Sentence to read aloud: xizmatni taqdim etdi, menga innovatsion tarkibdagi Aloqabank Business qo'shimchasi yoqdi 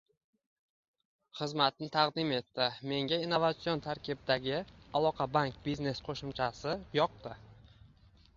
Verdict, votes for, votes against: accepted, 2, 0